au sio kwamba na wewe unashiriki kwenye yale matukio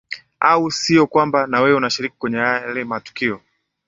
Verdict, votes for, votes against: accepted, 10, 0